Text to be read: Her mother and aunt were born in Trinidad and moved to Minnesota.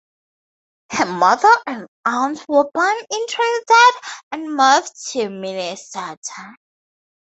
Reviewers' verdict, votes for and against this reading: accepted, 2, 0